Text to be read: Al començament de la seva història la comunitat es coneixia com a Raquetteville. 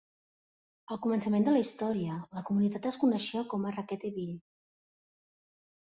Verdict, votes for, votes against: rejected, 0, 2